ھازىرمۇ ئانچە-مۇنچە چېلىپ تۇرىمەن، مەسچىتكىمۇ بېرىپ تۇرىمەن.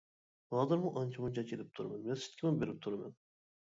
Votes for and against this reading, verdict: 0, 2, rejected